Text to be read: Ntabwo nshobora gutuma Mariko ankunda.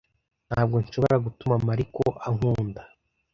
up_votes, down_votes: 2, 0